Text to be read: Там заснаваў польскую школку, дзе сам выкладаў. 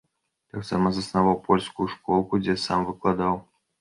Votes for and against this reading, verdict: 1, 2, rejected